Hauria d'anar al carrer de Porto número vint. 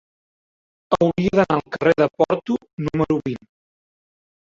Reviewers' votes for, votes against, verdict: 1, 2, rejected